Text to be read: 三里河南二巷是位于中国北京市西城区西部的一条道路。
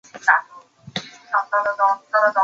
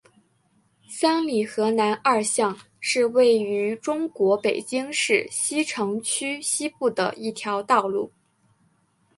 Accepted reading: second